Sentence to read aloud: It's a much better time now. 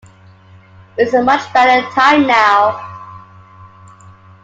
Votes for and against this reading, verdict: 2, 0, accepted